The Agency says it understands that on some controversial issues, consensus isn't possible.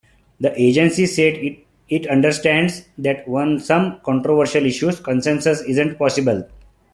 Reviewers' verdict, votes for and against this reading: rejected, 1, 2